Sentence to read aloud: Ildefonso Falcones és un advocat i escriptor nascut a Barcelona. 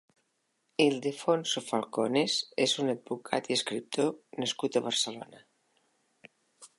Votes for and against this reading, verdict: 3, 0, accepted